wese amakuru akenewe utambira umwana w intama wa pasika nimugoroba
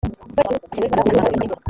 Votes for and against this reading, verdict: 0, 2, rejected